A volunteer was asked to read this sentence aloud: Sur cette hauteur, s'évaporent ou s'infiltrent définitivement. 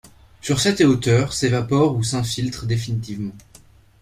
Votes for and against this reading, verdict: 1, 2, rejected